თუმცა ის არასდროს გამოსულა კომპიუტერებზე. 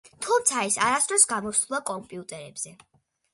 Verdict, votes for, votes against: accepted, 3, 0